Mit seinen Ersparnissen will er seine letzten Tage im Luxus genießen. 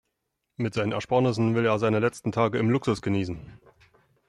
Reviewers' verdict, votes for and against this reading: accepted, 4, 0